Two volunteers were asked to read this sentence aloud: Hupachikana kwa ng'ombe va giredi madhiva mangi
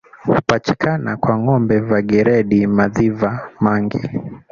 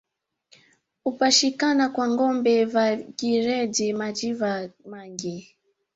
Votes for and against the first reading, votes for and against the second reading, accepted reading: 2, 1, 1, 2, first